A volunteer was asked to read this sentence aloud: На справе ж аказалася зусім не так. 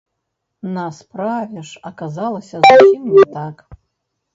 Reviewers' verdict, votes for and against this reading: rejected, 0, 2